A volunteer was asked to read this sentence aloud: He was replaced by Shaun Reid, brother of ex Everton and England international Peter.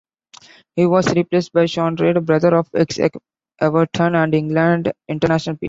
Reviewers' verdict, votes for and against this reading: rejected, 0, 2